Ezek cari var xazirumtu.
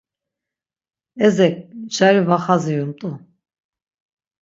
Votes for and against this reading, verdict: 6, 0, accepted